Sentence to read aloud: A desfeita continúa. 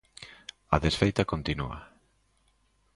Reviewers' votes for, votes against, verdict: 2, 0, accepted